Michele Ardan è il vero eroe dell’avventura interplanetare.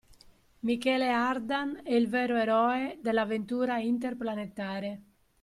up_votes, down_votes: 2, 0